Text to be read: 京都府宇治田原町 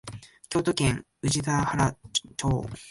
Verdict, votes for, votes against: rejected, 0, 2